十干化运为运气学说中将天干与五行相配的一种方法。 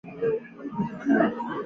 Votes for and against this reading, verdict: 1, 2, rejected